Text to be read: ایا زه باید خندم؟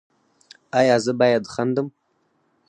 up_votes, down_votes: 4, 0